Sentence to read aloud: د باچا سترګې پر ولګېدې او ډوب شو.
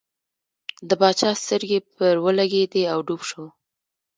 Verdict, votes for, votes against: accepted, 2, 1